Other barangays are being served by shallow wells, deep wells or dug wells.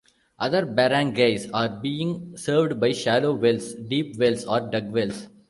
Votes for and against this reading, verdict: 2, 0, accepted